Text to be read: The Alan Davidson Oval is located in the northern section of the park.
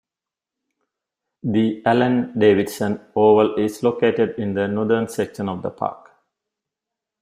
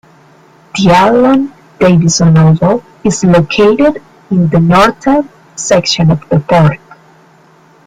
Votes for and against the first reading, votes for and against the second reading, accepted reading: 2, 0, 2, 3, first